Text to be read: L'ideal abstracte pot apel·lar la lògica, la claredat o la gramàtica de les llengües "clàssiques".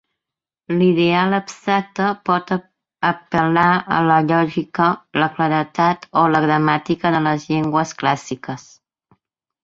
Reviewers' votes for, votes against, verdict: 1, 2, rejected